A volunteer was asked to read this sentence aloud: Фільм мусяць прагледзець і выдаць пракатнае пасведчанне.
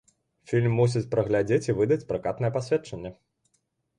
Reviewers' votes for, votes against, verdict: 1, 2, rejected